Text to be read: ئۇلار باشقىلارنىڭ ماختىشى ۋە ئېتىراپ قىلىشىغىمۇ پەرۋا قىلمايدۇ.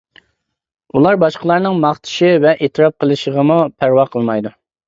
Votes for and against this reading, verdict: 2, 0, accepted